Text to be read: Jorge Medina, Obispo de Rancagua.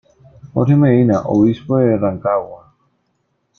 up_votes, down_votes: 2, 1